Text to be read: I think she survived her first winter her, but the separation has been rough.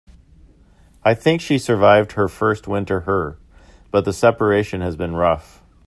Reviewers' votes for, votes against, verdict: 2, 1, accepted